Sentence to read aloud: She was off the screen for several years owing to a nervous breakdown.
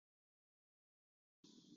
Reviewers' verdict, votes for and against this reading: rejected, 0, 2